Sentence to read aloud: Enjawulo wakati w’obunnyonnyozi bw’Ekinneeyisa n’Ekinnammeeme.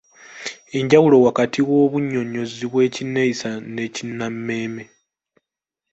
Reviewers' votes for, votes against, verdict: 2, 1, accepted